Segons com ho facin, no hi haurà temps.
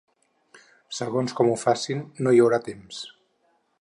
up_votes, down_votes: 6, 0